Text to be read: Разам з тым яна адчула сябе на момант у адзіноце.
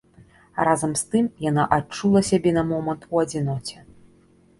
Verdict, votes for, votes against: accepted, 2, 0